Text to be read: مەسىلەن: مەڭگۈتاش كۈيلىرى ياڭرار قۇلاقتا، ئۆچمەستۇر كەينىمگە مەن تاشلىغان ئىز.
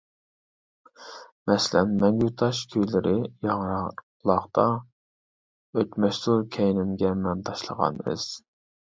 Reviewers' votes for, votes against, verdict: 0, 2, rejected